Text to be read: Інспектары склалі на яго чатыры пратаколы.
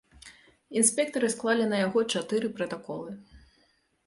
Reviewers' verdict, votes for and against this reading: accepted, 2, 0